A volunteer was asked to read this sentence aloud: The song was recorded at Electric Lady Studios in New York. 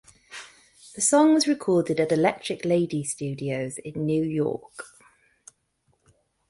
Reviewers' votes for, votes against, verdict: 2, 0, accepted